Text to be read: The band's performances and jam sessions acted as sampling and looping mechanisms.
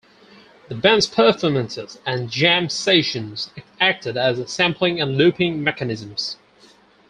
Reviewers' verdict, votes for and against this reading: accepted, 4, 0